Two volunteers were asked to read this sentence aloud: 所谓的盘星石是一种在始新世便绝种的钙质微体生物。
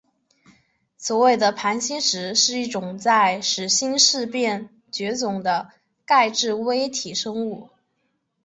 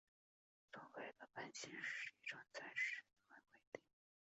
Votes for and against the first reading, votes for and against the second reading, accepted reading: 4, 0, 0, 2, first